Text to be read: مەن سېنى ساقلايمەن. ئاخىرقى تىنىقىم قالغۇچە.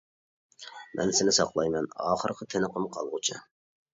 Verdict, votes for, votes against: accepted, 2, 0